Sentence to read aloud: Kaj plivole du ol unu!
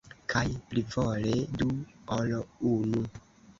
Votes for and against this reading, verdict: 2, 1, accepted